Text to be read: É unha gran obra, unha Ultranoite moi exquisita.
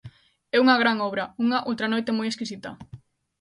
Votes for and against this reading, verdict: 2, 0, accepted